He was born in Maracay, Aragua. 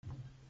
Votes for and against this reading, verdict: 0, 2, rejected